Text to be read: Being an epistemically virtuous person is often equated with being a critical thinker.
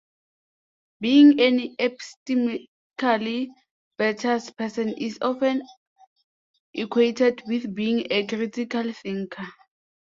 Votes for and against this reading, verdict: 1, 2, rejected